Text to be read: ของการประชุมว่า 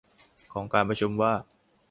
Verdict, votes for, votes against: accepted, 2, 0